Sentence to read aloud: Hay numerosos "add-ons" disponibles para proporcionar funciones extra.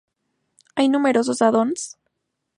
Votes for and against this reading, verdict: 0, 2, rejected